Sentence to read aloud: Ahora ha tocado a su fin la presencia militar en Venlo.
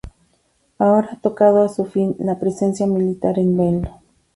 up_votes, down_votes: 2, 0